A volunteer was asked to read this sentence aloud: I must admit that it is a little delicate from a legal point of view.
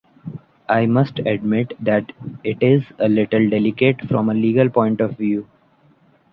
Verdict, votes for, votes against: accepted, 2, 0